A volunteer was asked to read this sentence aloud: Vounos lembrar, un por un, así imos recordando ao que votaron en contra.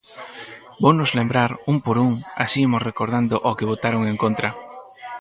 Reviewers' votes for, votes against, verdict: 4, 0, accepted